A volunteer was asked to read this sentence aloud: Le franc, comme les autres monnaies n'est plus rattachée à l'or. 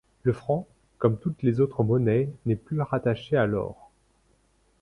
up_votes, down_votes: 1, 2